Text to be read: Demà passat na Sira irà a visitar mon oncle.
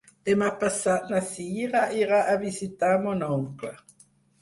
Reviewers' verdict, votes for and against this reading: accepted, 4, 0